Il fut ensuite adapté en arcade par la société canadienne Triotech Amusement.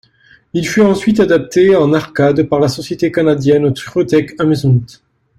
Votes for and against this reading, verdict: 2, 0, accepted